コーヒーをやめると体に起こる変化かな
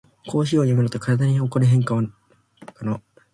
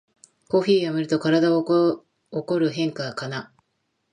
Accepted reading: second